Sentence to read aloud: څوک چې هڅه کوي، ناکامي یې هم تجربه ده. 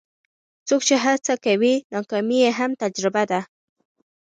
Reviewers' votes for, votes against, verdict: 1, 2, rejected